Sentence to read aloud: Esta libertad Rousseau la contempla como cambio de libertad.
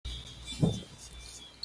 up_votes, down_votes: 1, 2